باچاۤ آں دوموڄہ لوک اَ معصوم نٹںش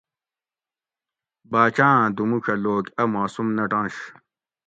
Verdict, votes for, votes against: accepted, 2, 0